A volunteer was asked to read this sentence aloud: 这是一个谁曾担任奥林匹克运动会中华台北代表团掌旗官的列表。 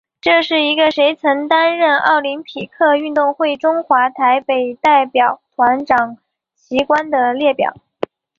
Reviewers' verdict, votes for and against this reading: accepted, 4, 2